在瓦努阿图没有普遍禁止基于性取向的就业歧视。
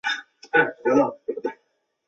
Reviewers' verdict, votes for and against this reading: rejected, 0, 3